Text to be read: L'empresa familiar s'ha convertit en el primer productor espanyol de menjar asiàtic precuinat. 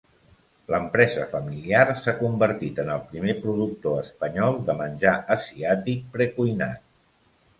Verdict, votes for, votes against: rejected, 0, 2